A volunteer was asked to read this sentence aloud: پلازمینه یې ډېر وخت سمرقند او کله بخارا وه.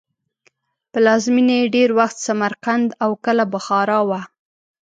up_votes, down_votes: 2, 0